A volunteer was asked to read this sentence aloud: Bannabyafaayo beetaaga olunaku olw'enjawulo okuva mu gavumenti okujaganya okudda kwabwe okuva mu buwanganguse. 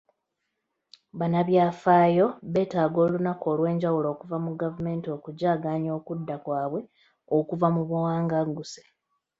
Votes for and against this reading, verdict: 2, 0, accepted